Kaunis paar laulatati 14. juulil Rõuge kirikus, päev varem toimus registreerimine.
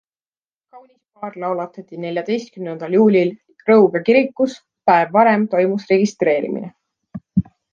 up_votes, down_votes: 0, 2